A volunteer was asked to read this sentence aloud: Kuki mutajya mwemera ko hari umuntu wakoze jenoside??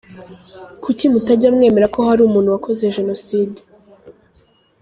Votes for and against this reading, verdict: 2, 0, accepted